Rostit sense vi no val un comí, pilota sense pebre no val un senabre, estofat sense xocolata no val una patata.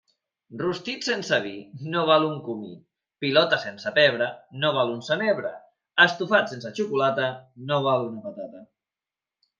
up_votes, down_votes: 4, 0